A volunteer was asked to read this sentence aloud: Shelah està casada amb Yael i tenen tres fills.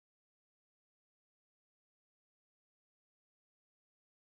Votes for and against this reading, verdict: 0, 2, rejected